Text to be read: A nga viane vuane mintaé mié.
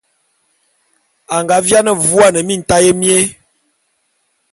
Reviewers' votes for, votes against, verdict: 2, 0, accepted